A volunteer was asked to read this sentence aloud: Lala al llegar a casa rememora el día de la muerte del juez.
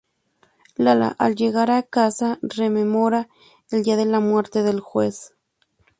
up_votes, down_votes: 0, 2